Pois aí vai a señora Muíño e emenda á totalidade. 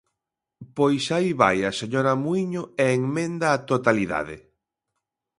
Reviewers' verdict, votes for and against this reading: rejected, 1, 2